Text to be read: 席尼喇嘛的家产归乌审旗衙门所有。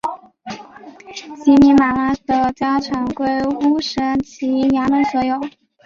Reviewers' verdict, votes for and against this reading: accepted, 2, 0